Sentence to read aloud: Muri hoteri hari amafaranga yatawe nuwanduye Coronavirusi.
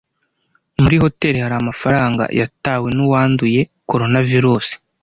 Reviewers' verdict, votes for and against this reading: accepted, 2, 0